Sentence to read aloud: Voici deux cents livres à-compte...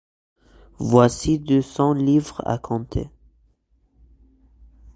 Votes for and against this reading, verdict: 1, 2, rejected